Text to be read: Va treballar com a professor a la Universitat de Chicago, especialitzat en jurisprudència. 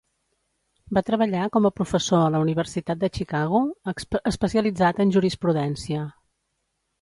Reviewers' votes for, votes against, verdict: 0, 2, rejected